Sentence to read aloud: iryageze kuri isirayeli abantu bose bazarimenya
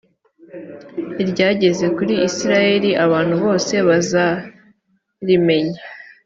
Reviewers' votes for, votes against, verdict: 3, 0, accepted